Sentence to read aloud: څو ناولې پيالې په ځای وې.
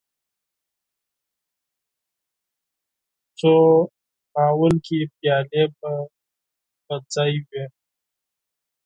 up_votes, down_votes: 4, 2